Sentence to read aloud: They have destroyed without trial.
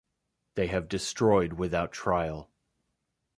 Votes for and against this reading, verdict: 2, 0, accepted